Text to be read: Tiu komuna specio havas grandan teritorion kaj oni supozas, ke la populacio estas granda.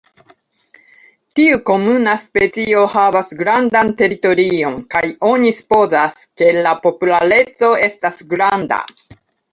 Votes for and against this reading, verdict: 0, 2, rejected